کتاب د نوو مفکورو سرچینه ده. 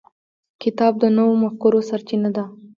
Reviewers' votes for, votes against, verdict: 1, 2, rejected